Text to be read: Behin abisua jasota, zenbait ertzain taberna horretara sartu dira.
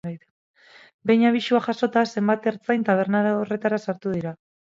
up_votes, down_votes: 4, 4